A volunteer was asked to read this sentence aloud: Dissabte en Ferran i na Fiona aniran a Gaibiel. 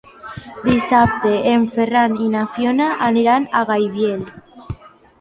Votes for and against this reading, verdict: 2, 0, accepted